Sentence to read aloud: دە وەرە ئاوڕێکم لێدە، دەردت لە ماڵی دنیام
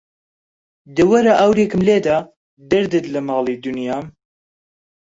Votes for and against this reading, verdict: 0, 2, rejected